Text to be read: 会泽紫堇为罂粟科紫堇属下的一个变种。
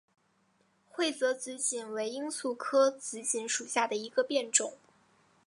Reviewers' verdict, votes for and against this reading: accepted, 2, 0